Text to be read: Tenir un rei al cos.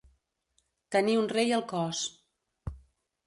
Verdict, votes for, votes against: accepted, 2, 0